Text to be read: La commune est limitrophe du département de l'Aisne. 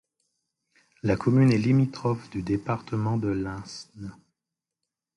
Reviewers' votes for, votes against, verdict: 1, 2, rejected